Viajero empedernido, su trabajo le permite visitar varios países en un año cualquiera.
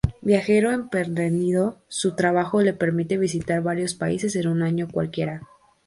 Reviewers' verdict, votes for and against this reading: rejected, 0, 2